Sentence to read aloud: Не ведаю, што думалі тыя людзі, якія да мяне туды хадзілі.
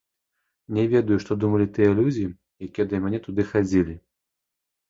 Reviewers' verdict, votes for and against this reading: accepted, 2, 1